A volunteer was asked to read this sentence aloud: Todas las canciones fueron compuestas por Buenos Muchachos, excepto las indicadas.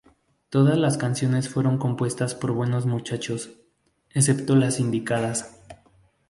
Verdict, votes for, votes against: accepted, 6, 0